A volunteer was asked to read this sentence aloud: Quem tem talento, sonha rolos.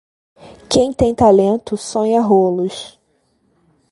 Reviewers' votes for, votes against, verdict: 2, 0, accepted